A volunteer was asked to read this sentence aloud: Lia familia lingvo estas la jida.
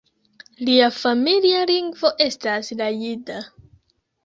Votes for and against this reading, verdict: 0, 2, rejected